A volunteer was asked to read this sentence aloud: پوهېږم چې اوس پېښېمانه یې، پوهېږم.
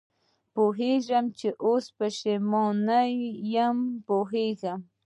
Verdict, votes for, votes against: rejected, 0, 2